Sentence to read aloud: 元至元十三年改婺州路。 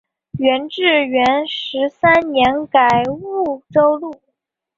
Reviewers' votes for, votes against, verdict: 1, 2, rejected